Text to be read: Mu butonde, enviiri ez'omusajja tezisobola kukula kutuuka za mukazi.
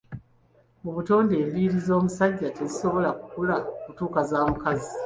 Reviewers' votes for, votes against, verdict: 2, 1, accepted